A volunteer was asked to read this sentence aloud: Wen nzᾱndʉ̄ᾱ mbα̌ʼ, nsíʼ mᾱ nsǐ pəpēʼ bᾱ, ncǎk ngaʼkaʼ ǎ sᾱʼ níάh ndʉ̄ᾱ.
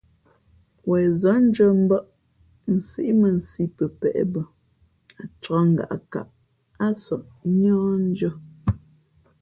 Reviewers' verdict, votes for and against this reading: accepted, 2, 0